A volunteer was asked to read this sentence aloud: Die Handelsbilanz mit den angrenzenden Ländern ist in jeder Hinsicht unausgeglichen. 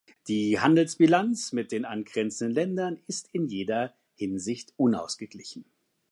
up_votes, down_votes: 2, 0